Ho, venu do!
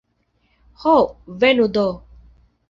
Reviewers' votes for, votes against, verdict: 2, 0, accepted